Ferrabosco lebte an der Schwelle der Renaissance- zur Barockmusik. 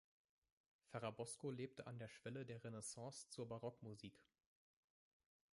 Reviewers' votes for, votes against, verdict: 0, 2, rejected